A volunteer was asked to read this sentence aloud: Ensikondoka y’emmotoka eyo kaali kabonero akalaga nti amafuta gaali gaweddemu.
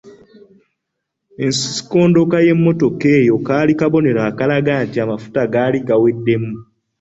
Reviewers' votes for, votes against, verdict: 2, 0, accepted